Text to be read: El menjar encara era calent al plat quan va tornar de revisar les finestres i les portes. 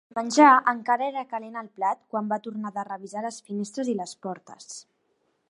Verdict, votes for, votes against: rejected, 2, 4